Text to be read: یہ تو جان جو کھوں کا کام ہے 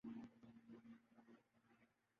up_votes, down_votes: 0, 2